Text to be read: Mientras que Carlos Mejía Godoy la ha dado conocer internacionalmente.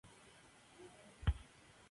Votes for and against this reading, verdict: 0, 2, rejected